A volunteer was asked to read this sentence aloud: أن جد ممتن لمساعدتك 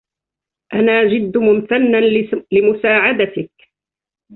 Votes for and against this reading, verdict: 1, 2, rejected